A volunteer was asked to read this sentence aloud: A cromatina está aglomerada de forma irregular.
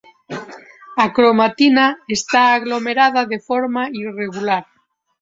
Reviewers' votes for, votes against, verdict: 2, 0, accepted